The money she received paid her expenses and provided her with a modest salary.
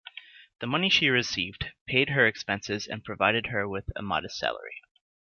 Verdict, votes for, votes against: accepted, 2, 0